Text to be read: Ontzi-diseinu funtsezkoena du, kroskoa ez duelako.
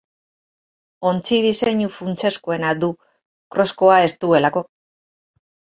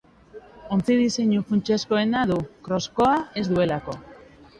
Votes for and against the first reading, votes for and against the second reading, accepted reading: 2, 2, 3, 0, second